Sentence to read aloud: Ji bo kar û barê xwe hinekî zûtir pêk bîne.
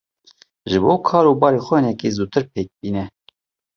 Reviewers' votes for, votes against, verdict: 2, 0, accepted